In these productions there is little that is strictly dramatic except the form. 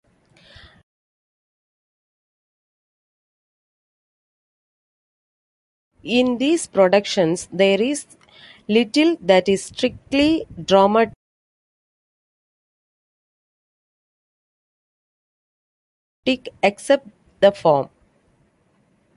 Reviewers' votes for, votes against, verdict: 0, 2, rejected